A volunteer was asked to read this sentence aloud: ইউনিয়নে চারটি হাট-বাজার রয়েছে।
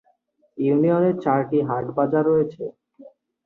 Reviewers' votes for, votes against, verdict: 40, 7, accepted